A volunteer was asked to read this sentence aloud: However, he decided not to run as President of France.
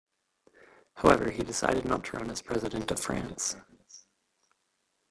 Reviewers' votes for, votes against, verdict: 2, 1, accepted